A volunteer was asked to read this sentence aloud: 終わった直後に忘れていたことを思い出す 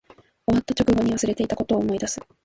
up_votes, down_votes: 3, 0